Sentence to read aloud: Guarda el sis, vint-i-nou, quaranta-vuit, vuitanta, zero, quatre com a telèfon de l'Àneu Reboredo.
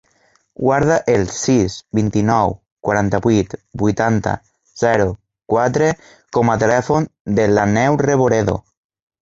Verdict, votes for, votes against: rejected, 0, 2